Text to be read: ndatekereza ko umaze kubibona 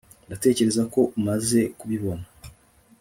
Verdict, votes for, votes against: accepted, 2, 0